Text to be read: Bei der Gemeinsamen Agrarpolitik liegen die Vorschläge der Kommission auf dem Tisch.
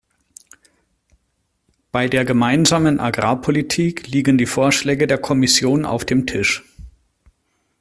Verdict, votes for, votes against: accepted, 2, 0